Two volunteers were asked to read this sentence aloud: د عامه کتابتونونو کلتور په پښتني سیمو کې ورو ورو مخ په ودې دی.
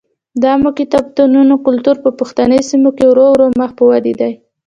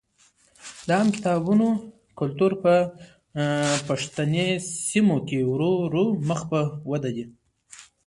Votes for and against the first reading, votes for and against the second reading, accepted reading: 2, 0, 0, 2, first